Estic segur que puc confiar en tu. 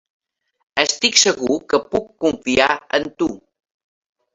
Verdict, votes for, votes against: accepted, 3, 1